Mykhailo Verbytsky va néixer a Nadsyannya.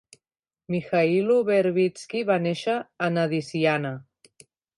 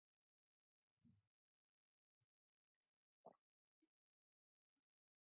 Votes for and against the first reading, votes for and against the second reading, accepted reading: 2, 1, 1, 2, first